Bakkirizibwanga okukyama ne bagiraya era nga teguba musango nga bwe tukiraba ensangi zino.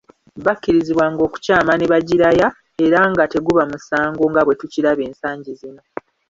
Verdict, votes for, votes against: accepted, 2, 1